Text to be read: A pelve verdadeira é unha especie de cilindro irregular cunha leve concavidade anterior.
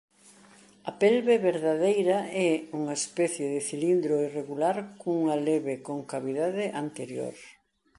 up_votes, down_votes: 2, 0